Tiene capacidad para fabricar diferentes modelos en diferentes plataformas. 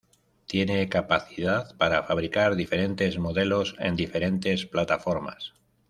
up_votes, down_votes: 2, 0